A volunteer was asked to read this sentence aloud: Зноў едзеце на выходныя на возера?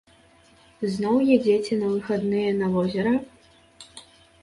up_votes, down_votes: 2, 1